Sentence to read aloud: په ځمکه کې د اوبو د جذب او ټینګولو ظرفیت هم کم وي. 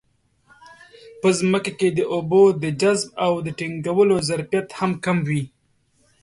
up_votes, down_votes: 2, 0